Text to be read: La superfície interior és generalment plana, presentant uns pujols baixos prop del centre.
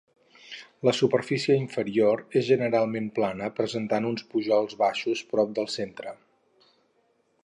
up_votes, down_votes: 0, 4